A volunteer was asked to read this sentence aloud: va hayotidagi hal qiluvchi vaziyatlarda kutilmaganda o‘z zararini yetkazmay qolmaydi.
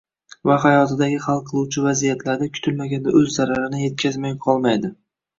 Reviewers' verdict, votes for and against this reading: rejected, 0, 2